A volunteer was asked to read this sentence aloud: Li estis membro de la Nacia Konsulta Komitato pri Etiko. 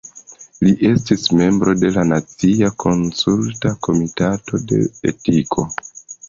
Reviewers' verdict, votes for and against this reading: accepted, 2, 0